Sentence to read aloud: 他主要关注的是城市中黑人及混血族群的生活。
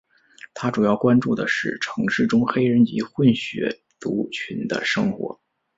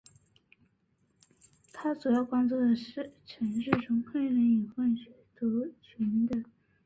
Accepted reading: first